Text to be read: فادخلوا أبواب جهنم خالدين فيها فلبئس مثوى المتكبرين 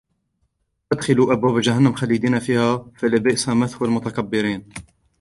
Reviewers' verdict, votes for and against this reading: rejected, 1, 2